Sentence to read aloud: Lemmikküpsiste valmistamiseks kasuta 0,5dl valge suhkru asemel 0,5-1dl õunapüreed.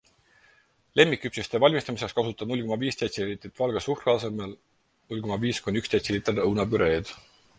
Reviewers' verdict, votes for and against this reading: rejected, 0, 2